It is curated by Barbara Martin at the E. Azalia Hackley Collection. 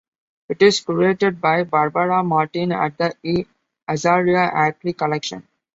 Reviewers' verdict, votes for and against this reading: accepted, 2, 0